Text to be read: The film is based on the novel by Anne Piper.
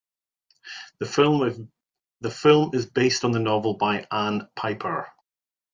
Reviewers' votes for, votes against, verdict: 0, 2, rejected